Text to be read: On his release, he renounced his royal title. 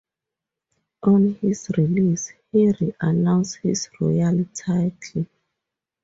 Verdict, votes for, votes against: rejected, 0, 2